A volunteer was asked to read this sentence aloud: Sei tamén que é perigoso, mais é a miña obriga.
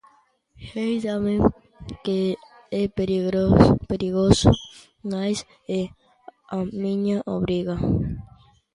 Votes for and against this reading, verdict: 0, 2, rejected